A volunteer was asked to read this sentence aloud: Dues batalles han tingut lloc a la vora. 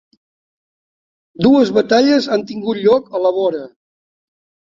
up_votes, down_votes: 3, 0